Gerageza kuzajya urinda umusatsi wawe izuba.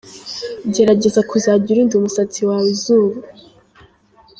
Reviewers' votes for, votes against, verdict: 0, 2, rejected